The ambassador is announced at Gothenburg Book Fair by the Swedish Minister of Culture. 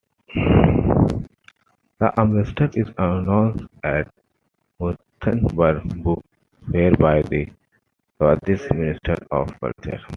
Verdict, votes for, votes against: rejected, 1, 2